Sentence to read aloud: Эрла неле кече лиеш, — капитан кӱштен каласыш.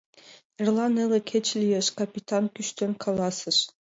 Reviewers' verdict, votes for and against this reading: accepted, 2, 0